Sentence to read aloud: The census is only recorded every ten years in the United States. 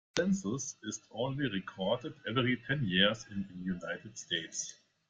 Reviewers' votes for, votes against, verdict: 0, 2, rejected